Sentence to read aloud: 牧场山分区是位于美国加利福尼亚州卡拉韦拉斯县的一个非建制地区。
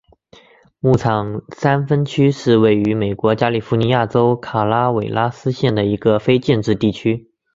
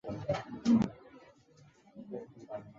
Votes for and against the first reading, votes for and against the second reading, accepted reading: 2, 0, 0, 2, first